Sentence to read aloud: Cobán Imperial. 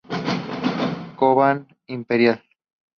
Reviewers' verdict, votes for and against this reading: accepted, 4, 0